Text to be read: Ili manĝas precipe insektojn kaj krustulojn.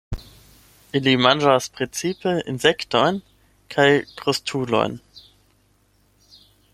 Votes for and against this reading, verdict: 8, 0, accepted